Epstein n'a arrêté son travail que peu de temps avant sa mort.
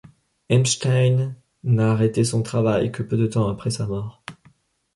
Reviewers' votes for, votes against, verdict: 1, 2, rejected